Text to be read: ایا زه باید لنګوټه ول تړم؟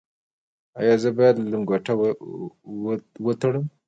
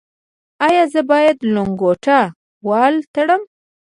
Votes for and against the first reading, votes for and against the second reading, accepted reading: 2, 1, 0, 2, first